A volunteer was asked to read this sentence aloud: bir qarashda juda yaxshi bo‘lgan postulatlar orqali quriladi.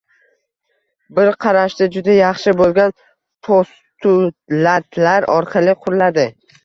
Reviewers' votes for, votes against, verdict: 0, 2, rejected